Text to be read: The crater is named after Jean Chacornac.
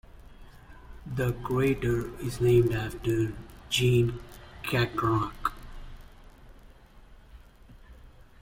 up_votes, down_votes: 0, 2